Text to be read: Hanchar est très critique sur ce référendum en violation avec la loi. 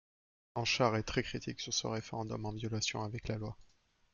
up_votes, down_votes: 2, 0